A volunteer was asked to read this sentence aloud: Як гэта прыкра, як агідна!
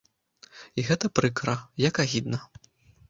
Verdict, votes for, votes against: rejected, 0, 2